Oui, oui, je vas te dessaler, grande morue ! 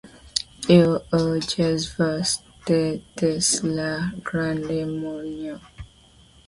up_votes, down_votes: 0, 2